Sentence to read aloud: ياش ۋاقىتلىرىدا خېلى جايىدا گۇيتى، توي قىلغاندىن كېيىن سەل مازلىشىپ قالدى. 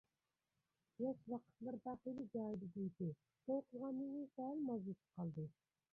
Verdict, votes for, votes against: rejected, 0, 2